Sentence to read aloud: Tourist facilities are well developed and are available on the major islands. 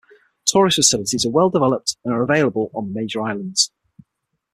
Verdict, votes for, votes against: accepted, 6, 0